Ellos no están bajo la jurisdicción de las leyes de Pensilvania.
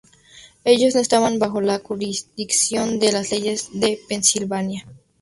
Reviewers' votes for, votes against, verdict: 0, 2, rejected